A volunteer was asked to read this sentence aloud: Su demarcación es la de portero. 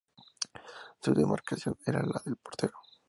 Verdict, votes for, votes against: rejected, 0, 4